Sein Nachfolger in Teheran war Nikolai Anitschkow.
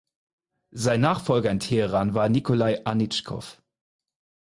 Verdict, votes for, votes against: accepted, 4, 0